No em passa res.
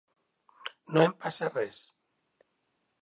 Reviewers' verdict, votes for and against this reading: rejected, 1, 2